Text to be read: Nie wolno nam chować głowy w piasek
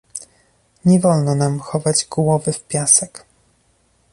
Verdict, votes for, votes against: accepted, 2, 0